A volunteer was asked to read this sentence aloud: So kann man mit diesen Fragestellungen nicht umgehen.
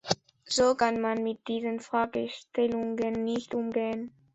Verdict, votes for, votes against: accepted, 2, 0